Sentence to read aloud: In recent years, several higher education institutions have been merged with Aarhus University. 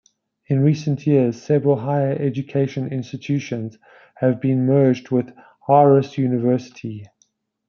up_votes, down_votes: 2, 0